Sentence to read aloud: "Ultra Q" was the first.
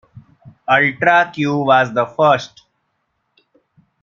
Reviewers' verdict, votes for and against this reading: rejected, 0, 2